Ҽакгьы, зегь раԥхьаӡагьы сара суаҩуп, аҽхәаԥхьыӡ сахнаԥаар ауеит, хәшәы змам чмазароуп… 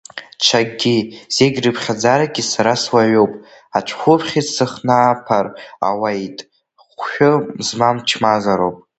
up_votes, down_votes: 1, 2